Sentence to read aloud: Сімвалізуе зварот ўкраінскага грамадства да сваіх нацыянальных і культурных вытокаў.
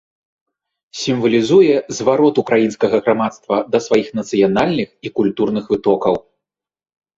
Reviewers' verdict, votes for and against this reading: accepted, 2, 0